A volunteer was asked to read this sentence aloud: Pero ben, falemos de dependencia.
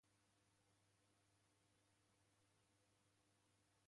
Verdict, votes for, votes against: rejected, 0, 3